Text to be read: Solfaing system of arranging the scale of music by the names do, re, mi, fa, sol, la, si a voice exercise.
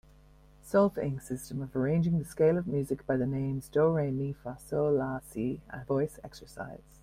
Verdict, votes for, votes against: accepted, 2, 0